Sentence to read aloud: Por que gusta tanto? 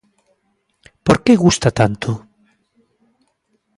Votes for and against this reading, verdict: 2, 0, accepted